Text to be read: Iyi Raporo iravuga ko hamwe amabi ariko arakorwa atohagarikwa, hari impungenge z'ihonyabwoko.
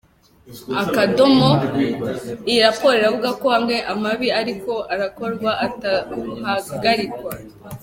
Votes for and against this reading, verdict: 0, 3, rejected